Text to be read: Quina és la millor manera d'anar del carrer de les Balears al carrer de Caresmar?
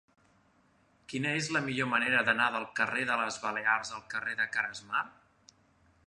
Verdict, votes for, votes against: accepted, 2, 0